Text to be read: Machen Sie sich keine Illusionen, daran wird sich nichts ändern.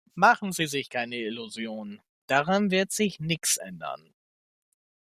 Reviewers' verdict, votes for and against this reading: rejected, 1, 2